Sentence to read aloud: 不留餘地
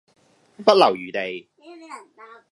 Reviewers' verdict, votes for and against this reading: accepted, 2, 1